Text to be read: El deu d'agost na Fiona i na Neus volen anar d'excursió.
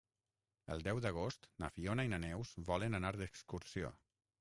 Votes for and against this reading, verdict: 3, 6, rejected